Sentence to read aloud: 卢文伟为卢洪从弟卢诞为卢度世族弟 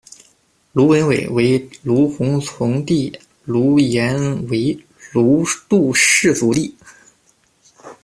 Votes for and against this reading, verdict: 0, 2, rejected